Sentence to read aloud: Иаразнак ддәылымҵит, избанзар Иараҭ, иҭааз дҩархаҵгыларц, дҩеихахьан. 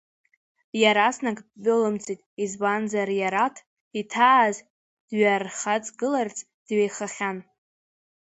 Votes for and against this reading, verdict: 1, 2, rejected